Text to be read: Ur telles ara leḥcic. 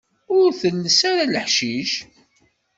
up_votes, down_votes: 2, 0